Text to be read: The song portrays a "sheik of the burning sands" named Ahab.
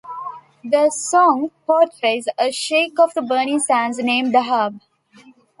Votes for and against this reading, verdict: 2, 0, accepted